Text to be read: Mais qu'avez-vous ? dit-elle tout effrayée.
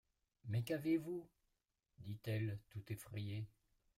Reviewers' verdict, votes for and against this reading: accepted, 2, 1